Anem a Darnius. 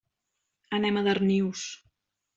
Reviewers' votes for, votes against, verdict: 3, 0, accepted